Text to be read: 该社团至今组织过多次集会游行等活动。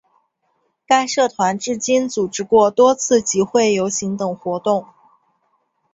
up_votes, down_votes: 2, 0